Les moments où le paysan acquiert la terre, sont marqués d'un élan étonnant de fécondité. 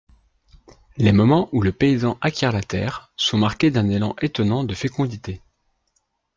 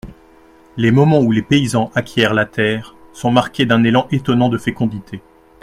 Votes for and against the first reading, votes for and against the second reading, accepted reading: 2, 0, 1, 2, first